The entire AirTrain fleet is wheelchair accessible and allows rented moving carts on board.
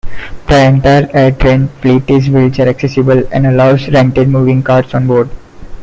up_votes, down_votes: 2, 0